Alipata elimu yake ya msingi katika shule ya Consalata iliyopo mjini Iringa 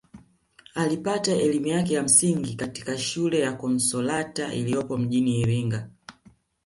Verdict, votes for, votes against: accepted, 2, 0